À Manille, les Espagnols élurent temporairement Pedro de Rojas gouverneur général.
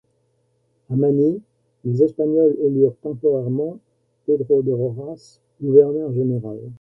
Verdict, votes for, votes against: accepted, 2, 1